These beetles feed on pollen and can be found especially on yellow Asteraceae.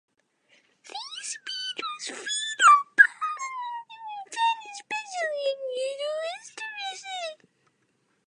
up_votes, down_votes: 0, 2